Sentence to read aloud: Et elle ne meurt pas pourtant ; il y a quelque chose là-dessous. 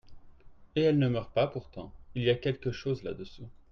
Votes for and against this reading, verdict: 2, 0, accepted